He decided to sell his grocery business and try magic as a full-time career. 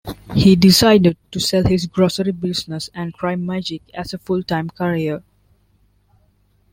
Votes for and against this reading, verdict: 2, 0, accepted